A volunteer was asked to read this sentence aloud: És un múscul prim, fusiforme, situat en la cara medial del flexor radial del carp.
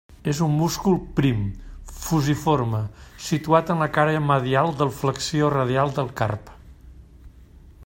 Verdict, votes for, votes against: rejected, 1, 2